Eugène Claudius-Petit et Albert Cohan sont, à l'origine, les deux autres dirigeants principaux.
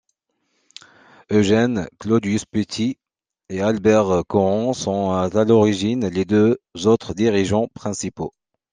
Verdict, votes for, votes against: accepted, 2, 0